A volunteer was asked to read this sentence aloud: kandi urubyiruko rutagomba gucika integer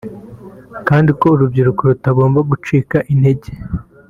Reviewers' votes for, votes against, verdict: 2, 1, accepted